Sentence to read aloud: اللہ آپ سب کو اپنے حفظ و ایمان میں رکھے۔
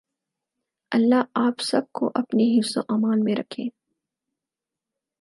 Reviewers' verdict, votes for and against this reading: accepted, 6, 0